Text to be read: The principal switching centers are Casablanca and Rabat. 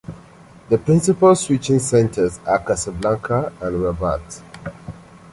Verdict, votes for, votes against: rejected, 1, 2